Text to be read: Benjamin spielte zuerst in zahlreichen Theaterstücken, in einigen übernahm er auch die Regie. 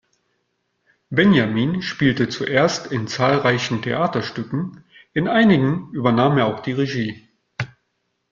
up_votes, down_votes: 2, 0